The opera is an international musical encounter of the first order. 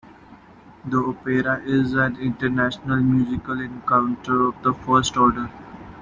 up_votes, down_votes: 0, 2